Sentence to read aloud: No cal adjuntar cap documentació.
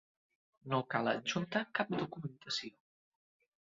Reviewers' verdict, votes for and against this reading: rejected, 1, 2